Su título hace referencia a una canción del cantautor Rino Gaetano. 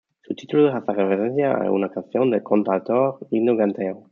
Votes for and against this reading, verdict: 0, 2, rejected